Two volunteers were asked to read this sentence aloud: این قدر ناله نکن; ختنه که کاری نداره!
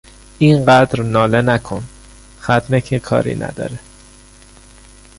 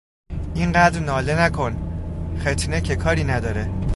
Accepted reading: first